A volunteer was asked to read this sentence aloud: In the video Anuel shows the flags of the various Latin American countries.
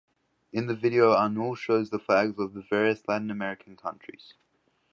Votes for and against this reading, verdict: 2, 0, accepted